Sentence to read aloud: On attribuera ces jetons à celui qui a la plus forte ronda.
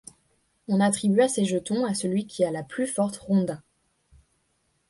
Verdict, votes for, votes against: rejected, 1, 2